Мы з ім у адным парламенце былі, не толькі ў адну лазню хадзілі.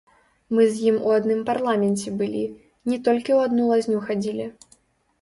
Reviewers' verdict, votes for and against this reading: rejected, 1, 2